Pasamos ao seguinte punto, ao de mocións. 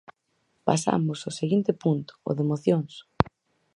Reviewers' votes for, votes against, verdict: 4, 0, accepted